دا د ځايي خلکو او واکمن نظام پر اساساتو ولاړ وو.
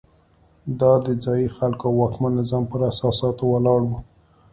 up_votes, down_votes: 2, 0